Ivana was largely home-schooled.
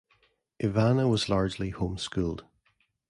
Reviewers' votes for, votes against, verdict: 0, 2, rejected